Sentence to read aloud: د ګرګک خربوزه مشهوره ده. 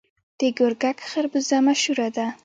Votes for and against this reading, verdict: 1, 2, rejected